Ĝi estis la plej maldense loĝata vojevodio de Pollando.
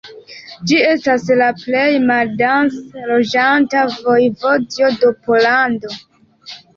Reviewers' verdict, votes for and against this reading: accepted, 2, 1